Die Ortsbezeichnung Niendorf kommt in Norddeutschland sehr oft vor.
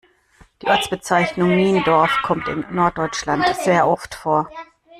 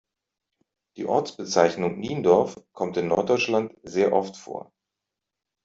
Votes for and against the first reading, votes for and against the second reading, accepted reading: 1, 2, 2, 0, second